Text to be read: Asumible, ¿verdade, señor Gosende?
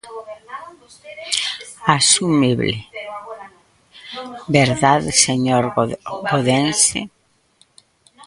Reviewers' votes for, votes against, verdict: 0, 2, rejected